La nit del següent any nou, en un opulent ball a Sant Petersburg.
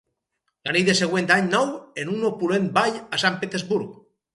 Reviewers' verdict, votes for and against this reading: rejected, 2, 2